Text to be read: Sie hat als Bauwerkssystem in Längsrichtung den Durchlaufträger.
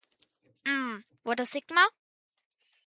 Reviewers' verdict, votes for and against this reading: rejected, 0, 2